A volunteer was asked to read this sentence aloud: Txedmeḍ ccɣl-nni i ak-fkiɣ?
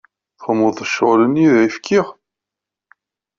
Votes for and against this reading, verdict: 0, 2, rejected